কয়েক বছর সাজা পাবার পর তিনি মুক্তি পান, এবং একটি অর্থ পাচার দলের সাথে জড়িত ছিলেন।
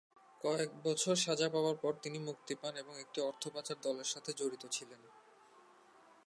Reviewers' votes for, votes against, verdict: 2, 0, accepted